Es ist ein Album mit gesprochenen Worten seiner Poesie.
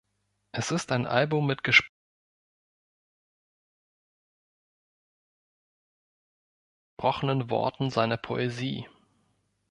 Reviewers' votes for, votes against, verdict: 0, 4, rejected